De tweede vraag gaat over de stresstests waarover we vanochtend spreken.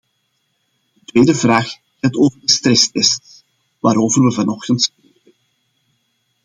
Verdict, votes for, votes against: rejected, 0, 2